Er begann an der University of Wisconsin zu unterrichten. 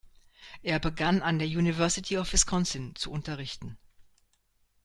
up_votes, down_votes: 2, 0